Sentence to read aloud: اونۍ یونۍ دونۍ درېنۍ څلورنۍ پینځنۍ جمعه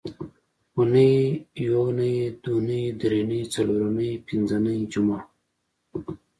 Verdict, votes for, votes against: accepted, 2, 0